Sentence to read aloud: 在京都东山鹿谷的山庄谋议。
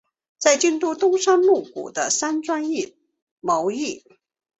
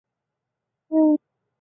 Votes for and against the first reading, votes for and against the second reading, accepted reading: 2, 1, 0, 2, first